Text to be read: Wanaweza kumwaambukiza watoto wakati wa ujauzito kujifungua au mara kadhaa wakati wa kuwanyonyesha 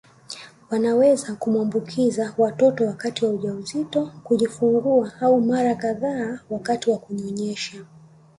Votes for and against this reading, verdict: 2, 0, accepted